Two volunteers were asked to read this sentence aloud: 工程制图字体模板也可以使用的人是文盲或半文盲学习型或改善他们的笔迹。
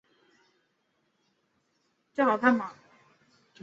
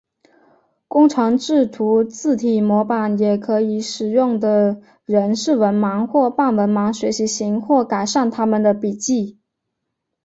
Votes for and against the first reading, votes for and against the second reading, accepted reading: 0, 2, 3, 0, second